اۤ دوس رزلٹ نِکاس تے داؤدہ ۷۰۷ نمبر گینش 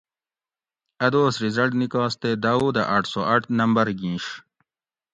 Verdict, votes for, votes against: rejected, 0, 2